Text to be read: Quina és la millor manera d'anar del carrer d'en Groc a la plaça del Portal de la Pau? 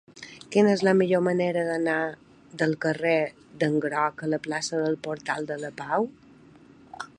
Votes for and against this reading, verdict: 3, 0, accepted